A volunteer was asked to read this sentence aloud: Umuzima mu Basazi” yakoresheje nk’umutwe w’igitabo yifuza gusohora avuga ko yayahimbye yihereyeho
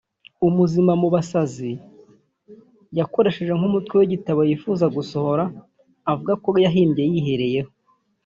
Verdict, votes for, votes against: rejected, 0, 2